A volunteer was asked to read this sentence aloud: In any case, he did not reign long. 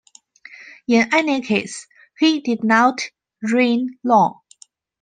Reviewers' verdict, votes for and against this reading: accepted, 2, 1